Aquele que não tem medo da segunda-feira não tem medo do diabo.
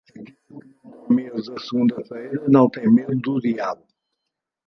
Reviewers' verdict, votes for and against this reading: rejected, 0, 2